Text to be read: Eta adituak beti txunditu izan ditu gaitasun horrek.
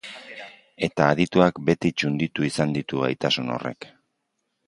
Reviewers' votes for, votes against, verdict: 2, 0, accepted